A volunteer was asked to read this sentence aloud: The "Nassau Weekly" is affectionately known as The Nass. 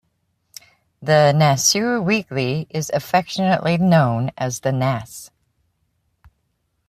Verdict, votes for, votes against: rejected, 1, 2